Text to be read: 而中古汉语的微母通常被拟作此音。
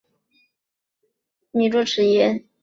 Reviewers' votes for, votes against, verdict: 0, 2, rejected